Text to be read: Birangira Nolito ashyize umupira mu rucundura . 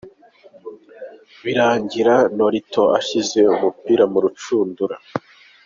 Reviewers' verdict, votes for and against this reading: accepted, 2, 0